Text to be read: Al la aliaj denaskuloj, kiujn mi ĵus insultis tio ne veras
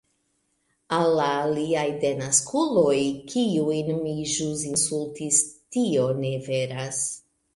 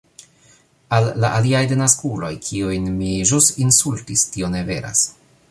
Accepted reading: second